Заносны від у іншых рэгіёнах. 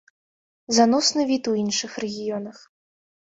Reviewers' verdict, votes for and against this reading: accepted, 2, 0